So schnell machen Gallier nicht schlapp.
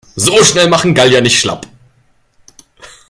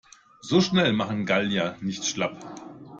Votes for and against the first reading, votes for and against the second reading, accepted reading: 1, 2, 2, 0, second